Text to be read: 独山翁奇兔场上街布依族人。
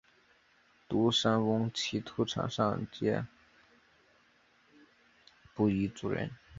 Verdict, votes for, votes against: accepted, 3, 0